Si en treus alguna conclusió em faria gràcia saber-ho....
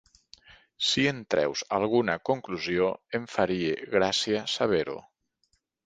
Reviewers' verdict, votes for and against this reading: accepted, 3, 0